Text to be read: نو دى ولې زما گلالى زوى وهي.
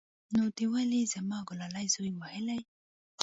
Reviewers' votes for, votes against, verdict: 0, 2, rejected